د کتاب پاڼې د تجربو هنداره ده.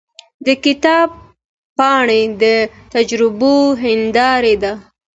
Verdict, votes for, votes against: accepted, 2, 0